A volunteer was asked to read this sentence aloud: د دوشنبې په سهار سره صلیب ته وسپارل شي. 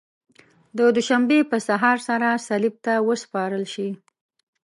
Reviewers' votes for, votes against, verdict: 1, 2, rejected